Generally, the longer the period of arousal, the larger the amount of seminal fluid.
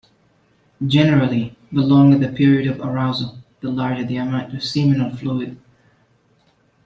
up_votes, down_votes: 2, 0